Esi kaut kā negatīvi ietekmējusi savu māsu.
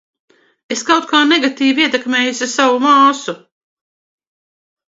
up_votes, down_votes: 1, 2